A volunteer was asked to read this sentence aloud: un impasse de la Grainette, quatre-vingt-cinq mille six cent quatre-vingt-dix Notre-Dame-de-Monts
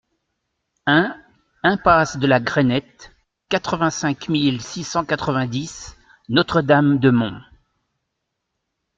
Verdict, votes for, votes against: accepted, 2, 0